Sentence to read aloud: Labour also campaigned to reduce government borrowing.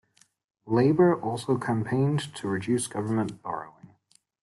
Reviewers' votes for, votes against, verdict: 2, 1, accepted